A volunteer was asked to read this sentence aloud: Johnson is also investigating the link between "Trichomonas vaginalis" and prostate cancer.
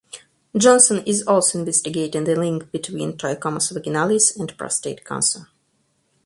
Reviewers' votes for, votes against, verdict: 2, 4, rejected